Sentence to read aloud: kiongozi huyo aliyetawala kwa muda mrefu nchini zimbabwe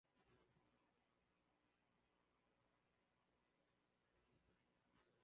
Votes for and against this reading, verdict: 1, 11, rejected